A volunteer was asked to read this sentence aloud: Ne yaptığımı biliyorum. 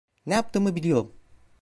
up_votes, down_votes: 2, 1